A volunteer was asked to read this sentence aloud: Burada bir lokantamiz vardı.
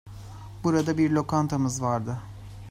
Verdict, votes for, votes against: accepted, 2, 0